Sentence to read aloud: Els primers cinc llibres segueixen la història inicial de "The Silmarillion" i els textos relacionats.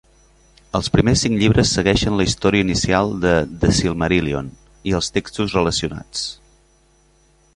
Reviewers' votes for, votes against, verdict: 3, 0, accepted